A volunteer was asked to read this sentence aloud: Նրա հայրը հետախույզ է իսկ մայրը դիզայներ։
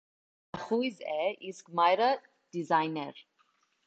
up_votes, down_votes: 0, 2